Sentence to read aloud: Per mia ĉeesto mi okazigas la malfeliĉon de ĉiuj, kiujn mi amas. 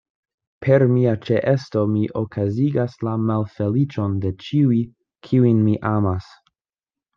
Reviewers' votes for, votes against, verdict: 2, 0, accepted